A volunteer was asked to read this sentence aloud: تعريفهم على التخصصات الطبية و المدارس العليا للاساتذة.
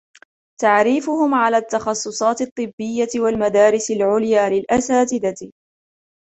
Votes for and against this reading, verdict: 0, 2, rejected